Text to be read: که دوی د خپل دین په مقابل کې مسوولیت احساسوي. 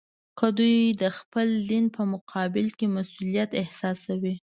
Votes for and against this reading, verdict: 2, 0, accepted